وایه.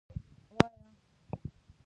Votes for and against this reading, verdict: 0, 2, rejected